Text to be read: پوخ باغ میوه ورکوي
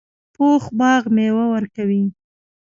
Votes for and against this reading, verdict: 2, 1, accepted